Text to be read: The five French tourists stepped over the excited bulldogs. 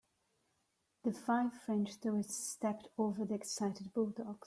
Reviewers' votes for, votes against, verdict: 3, 1, accepted